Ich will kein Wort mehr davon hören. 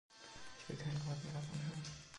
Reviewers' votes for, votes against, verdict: 1, 3, rejected